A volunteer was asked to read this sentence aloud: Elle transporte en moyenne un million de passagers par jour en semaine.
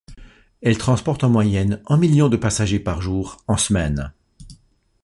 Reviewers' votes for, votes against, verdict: 2, 0, accepted